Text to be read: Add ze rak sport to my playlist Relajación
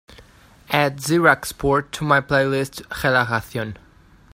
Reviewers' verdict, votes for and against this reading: accepted, 2, 0